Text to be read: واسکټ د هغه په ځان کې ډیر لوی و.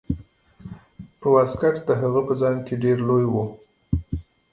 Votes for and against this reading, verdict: 0, 2, rejected